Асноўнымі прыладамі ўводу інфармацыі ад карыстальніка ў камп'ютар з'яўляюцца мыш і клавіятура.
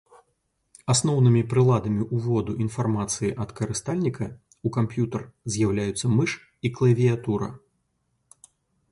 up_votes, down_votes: 2, 0